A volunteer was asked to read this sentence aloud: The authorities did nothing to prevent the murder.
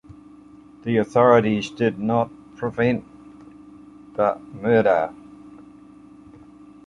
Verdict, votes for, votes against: rejected, 0, 2